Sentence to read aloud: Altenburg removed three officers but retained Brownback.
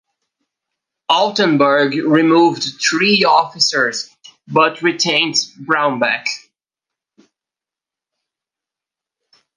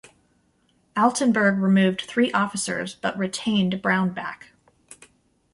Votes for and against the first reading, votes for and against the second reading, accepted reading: 1, 2, 2, 0, second